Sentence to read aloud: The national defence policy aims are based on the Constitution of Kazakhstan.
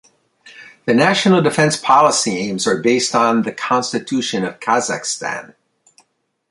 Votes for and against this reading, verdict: 2, 0, accepted